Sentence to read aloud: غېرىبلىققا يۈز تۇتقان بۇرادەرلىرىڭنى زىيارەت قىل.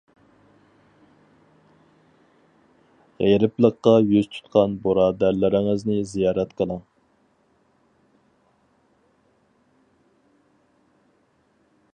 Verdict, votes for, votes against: rejected, 2, 4